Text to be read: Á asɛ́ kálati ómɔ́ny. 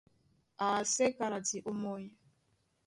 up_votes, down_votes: 2, 0